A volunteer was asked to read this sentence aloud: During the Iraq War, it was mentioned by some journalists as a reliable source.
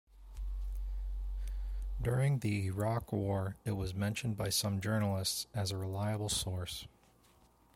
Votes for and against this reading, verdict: 2, 0, accepted